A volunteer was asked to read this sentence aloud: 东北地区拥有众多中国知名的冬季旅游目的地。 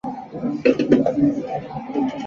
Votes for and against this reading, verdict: 0, 2, rejected